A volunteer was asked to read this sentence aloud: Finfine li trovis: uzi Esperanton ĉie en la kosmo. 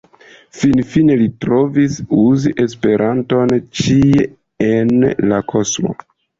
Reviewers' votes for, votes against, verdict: 2, 0, accepted